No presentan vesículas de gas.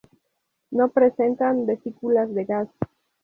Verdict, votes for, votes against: accepted, 2, 0